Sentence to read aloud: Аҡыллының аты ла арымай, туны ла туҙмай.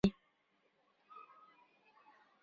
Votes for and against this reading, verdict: 0, 2, rejected